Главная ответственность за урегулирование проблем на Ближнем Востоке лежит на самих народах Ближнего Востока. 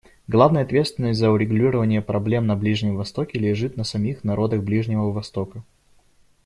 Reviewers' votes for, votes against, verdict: 2, 0, accepted